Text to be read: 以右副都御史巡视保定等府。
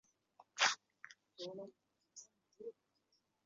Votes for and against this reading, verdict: 0, 2, rejected